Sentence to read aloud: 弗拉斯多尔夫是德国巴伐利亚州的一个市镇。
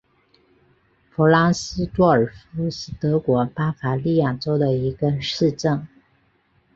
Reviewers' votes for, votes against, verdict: 2, 0, accepted